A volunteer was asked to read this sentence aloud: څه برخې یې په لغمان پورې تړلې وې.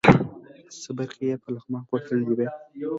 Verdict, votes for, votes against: rejected, 2, 3